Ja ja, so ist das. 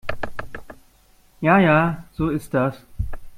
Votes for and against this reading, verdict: 1, 2, rejected